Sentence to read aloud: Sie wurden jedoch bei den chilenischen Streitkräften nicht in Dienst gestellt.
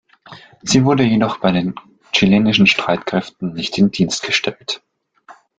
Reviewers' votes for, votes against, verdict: 2, 1, accepted